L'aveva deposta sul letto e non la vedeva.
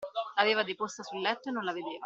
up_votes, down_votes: 2, 1